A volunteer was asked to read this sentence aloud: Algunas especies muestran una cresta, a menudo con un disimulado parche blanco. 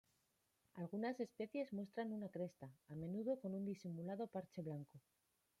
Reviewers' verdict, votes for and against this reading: rejected, 1, 2